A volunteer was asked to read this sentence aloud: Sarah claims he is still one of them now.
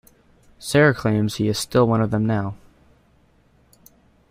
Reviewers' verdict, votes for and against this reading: accepted, 2, 0